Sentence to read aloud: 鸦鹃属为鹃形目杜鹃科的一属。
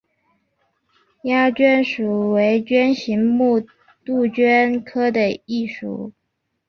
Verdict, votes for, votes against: rejected, 2, 2